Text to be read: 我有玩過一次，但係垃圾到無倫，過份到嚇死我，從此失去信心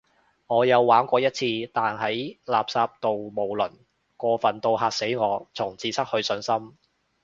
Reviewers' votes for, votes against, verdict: 0, 2, rejected